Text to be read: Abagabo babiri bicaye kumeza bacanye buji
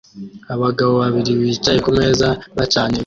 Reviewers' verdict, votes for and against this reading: rejected, 0, 2